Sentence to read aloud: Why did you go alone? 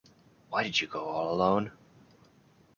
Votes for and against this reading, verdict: 2, 1, accepted